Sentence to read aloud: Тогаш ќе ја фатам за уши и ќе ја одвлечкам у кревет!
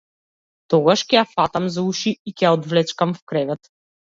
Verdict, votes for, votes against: rejected, 1, 2